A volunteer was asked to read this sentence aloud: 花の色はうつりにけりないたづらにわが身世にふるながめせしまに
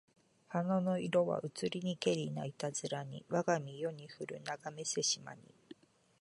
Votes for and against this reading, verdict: 3, 0, accepted